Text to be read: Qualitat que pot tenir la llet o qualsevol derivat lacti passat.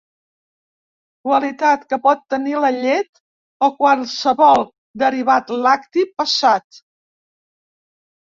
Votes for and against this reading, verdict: 3, 1, accepted